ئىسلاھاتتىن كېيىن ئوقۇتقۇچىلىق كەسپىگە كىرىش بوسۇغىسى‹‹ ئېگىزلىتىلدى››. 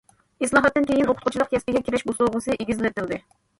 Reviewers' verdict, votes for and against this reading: rejected, 1, 2